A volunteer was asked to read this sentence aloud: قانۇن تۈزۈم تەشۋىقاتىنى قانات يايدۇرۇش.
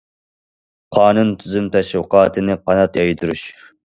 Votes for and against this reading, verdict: 2, 0, accepted